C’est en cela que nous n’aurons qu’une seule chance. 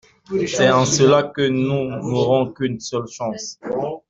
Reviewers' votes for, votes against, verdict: 2, 1, accepted